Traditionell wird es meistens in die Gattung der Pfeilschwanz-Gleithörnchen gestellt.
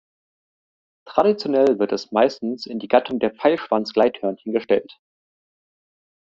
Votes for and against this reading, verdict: 2, 0, accepted